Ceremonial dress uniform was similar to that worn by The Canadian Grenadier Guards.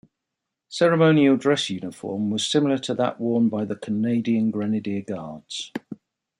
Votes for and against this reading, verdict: 2, 1, accepted